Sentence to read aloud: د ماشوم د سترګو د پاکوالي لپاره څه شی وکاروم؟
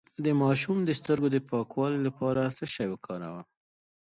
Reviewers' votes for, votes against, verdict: 0, 2, rejected